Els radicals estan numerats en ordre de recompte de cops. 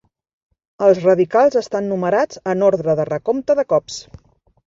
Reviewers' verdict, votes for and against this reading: accepted, 3, 0